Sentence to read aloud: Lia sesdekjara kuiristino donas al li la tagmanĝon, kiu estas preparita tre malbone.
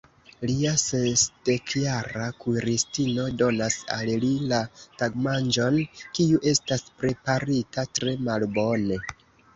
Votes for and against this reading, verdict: 2, 0, accepted